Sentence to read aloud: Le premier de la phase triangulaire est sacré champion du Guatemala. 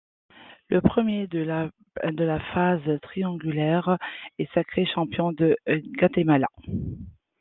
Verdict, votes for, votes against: rejected, 1, 2